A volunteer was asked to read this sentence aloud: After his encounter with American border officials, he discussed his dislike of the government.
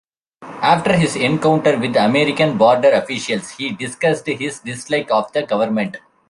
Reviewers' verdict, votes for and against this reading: accepted, 2, 0